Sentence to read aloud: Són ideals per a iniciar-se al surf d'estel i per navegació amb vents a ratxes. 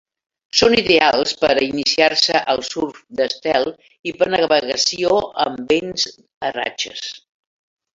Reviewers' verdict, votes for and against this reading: accepted, 3, 0